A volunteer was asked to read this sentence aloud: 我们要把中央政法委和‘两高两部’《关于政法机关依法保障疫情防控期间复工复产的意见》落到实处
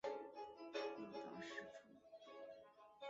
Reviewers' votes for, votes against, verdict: 0, 3, rejected